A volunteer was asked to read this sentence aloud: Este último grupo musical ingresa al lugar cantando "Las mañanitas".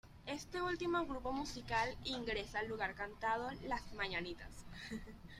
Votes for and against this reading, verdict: 1, 2, rejected